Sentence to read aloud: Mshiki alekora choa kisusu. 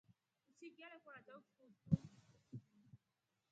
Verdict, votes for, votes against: accepted, 3, 1